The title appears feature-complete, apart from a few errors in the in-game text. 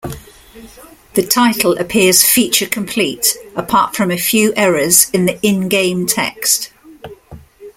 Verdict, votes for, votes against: accepted, 2, 0